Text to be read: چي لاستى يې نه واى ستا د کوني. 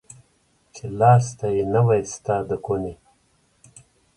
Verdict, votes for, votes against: rejected, 1, 2